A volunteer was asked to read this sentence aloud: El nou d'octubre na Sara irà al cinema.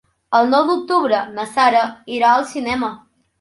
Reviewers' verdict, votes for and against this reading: accepted, 3, 0